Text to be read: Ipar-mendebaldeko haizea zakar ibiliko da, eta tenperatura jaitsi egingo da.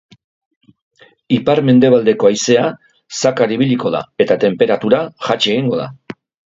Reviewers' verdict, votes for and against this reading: rejected, 1, 2